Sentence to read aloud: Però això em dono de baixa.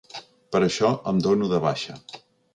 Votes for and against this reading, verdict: 2, 1, accepted